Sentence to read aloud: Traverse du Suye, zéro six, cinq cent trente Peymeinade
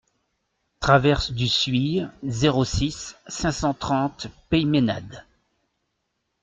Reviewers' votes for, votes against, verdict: 3, 0, accepted